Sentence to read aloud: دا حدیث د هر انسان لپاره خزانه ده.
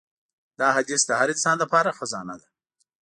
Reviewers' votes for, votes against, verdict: 2, 0, accepted